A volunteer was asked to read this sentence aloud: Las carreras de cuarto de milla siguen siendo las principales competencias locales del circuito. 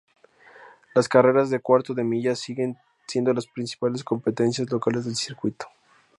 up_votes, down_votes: 2, 0